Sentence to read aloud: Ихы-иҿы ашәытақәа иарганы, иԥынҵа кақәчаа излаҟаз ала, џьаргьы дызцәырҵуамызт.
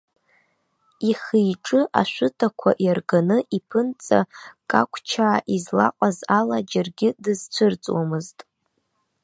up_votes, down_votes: 0, 2